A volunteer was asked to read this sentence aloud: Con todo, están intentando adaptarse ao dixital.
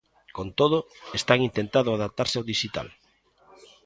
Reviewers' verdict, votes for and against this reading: rejected, 0, 2